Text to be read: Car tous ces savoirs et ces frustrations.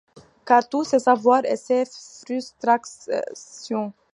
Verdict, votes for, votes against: rejected, 1, 2